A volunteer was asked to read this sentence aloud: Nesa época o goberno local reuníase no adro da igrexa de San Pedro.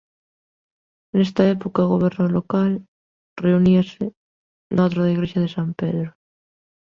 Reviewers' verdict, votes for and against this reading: rejected, 1, 2